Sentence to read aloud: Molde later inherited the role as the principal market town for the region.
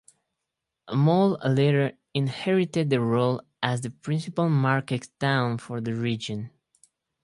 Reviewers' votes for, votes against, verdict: 2, 2, rejected